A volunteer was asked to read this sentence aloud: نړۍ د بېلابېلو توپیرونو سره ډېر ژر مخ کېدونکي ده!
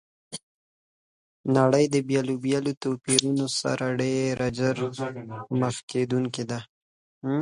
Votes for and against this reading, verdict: 1, 2, rejected